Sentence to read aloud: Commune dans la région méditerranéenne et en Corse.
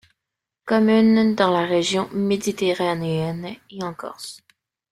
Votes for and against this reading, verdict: 0, 2, rejected